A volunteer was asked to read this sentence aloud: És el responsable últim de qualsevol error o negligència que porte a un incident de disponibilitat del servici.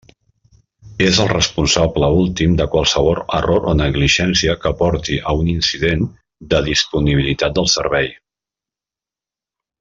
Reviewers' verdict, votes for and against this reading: rejected, 1, 3